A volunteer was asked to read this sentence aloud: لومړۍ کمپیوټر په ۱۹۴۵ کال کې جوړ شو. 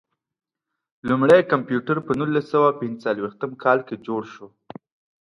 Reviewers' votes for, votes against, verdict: 0, 2, rejected